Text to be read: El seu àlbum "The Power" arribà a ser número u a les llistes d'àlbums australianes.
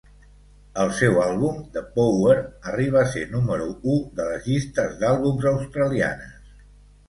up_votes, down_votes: 2, 4